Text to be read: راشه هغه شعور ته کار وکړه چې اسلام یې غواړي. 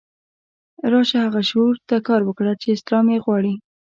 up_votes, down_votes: 2, 0